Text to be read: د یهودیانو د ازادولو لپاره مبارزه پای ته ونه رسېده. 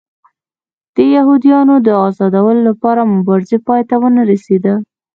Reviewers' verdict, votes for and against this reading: accepted, 2, 0